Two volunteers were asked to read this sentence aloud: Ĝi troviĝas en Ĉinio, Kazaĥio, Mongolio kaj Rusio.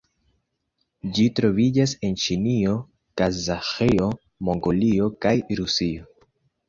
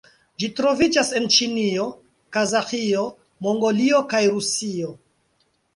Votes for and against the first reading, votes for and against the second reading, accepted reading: 2, 0, 1, 2, first